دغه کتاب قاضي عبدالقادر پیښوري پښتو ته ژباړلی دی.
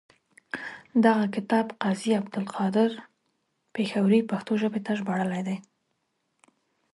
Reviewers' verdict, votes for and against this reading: accepted, 2, 1